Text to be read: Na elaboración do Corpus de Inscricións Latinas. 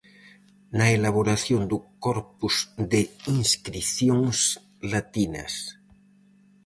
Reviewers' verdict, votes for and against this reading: accepted, 4, 0